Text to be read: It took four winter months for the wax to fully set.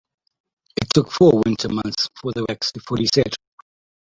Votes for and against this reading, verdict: 2, 0, accepted